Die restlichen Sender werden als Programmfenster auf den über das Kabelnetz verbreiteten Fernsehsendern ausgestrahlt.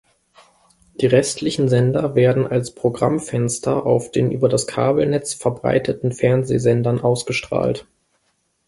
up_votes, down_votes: 2, 0